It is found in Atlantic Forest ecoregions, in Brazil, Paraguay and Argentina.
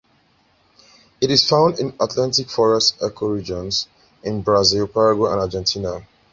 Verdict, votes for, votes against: accepted, 2, 0